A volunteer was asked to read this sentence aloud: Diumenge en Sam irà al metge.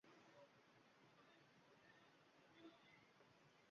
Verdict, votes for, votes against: rejected, 0, 2